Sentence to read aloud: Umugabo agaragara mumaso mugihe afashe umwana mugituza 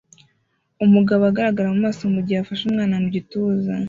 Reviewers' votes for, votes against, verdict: 0, 2, rejected